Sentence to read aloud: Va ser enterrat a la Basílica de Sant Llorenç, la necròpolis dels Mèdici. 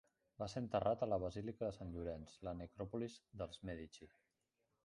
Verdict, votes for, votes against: rejected, 0, 2